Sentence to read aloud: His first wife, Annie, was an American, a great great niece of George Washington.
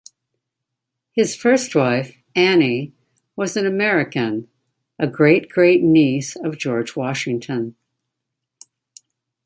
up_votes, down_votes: 0, 2